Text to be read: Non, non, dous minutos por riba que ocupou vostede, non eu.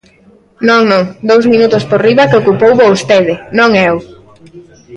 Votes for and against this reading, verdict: 1, 2, rejected